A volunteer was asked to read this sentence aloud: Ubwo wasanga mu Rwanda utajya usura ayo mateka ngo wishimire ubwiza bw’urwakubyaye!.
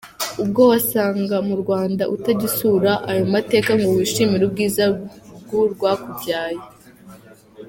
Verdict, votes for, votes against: accepted, 2, 0